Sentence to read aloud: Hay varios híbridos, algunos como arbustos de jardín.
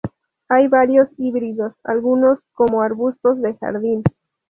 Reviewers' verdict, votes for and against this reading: accepted, 2, 0